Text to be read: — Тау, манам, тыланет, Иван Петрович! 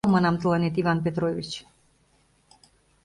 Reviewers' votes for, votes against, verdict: 1, 2, rejected